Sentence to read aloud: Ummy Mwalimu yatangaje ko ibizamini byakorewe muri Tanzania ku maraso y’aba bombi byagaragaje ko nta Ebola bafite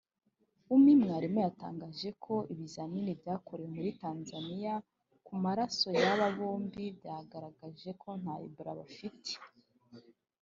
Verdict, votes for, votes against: rejected, 1, 2